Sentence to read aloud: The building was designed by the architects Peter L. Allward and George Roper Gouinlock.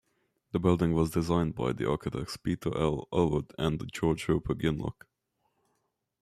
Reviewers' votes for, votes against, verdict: 2, 0, accepted